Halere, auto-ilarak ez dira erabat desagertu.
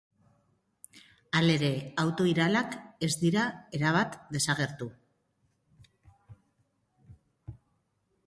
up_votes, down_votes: 2, 1